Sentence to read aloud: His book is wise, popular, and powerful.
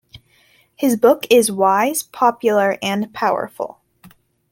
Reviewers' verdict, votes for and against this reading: accepted, 2, 0